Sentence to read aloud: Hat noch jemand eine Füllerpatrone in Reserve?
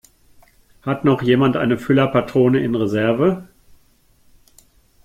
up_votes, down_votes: 2, 0